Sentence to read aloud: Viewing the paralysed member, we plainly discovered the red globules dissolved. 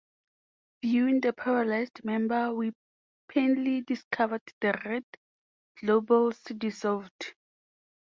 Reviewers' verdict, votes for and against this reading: rejected, 0, 2